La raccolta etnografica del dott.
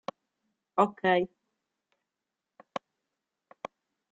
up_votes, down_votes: 0, 2